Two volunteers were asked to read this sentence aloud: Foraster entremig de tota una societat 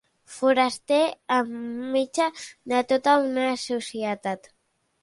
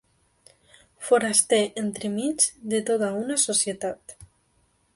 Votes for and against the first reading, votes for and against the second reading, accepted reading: 0, 2, 2, 0, second